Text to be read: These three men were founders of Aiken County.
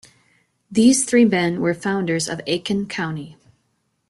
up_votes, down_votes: 2, 0